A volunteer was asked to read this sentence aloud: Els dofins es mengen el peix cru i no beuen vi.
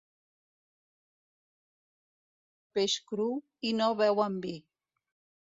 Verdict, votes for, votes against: rejected, 0, 2